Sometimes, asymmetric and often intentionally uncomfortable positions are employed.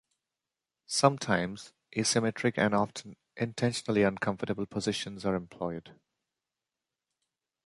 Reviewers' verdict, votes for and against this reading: rejected, 1, 2